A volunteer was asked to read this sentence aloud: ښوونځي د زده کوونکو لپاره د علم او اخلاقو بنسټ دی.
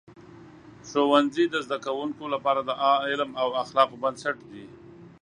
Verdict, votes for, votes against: accepted, 2, 1